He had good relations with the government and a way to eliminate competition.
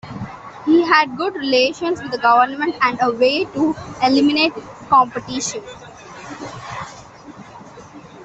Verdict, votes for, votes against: accepted, 2, 1